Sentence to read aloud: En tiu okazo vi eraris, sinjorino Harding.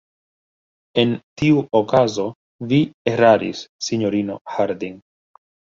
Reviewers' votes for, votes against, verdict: 1, 2, rejected